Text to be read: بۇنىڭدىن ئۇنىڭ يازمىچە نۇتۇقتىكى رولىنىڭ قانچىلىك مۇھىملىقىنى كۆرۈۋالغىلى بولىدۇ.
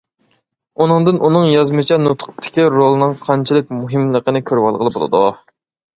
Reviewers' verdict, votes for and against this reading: rejected, 1, 2